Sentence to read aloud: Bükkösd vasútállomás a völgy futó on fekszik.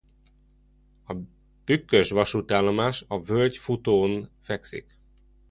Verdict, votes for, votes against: rejected, 0, 2